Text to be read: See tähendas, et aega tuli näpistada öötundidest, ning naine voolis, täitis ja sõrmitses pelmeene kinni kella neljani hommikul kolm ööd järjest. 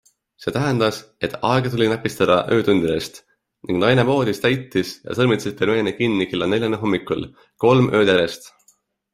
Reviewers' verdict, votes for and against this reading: accepted, 2, 1